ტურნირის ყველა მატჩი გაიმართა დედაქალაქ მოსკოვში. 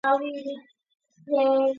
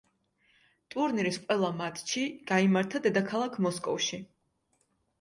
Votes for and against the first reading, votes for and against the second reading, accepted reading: 0, 2, 2, 0, second